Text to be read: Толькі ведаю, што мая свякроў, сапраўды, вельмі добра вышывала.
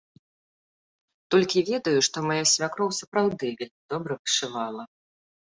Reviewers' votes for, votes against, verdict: 0, 2, rejected